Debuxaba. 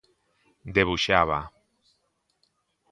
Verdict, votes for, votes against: accepted, 2, 0